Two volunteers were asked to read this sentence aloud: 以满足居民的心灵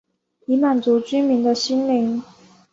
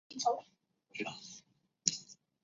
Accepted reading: first